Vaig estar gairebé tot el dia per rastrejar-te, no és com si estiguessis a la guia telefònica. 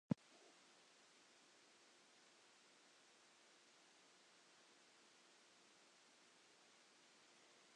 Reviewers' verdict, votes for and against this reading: rejected, 0, 3